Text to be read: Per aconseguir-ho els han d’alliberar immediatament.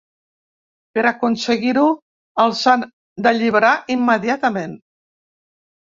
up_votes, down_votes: 2, 0